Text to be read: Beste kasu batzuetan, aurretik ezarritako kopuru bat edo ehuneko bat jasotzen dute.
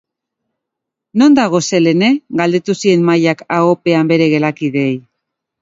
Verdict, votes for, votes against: rejected, 0, 3